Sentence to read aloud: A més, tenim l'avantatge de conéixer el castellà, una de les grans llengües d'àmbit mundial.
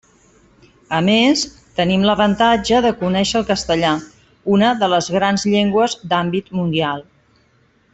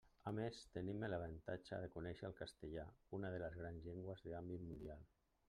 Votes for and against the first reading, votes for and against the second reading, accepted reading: 3, 0, 1, 2, first